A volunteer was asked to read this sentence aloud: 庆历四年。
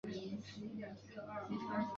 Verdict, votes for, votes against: rejected, 0, 3